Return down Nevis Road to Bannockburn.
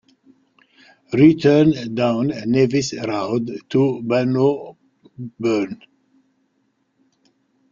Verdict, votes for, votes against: rejected, 0, 2